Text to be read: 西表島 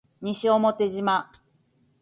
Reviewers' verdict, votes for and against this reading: accepted, 3, 2